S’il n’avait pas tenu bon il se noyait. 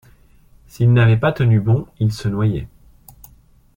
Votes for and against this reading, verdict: 2, 0, accepted